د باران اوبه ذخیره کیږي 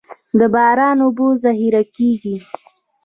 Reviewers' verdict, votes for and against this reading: rejected, 0, 2